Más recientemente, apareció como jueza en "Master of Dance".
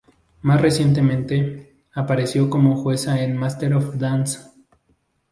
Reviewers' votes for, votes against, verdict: 2, 0, accepted